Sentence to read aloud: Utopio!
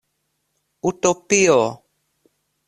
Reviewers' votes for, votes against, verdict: 2, 0, accepted